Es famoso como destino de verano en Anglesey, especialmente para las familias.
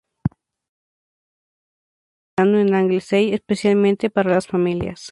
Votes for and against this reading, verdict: 0, 2, rejected